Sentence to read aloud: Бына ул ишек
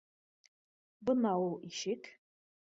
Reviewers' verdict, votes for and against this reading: accepted, 2, 0